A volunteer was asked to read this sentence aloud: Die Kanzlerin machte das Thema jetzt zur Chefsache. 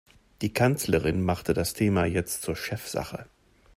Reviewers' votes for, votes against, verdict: 3, 0, accepted